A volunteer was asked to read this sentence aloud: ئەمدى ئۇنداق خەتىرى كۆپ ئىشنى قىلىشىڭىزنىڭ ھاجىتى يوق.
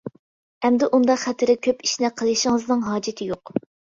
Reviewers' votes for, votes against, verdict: 2, 0, accepted